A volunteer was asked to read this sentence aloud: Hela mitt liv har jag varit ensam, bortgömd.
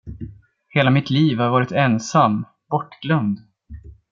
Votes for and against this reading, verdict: 0, 2, rejected